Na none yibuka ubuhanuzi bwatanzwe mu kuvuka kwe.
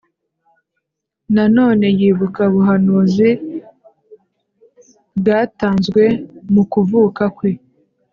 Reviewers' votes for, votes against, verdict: 2, 0, accepted